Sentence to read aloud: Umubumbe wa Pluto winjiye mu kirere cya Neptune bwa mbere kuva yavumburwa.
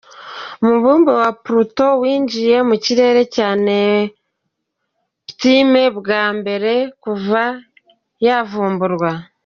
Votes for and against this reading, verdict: 1, 2, rejected